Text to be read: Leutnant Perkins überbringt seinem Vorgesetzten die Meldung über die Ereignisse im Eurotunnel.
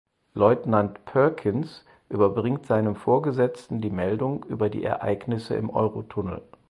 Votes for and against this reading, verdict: 4, 0, accepted